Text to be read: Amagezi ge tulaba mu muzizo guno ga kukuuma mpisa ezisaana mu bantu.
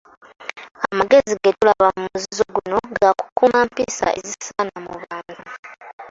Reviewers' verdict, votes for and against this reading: rejected, 0, 2